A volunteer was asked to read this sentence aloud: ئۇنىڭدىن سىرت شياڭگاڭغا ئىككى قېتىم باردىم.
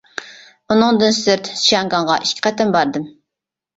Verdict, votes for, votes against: rejected, 1, 2